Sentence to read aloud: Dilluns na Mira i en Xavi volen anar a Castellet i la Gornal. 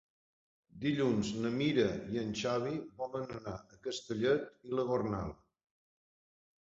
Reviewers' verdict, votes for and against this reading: accepted, 3, 0